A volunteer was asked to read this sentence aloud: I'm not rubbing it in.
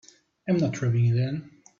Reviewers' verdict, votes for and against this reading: rejected, 2, 3